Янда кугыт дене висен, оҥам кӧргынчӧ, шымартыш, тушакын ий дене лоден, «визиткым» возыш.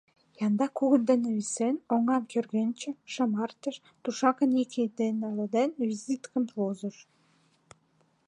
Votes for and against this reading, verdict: 0, 2, rejected